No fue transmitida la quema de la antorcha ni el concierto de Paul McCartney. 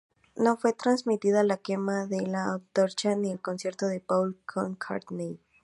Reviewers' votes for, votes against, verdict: 0, 2, rejected